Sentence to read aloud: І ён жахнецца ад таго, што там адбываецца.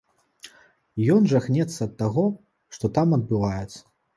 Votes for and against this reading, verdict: 2, 0, accepted